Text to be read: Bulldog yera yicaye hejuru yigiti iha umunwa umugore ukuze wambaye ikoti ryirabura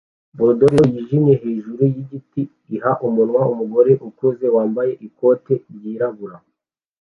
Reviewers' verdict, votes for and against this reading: rejected, 0, 2